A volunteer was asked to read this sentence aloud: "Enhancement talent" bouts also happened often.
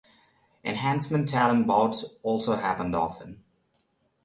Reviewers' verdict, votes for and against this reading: accepted, 3, 0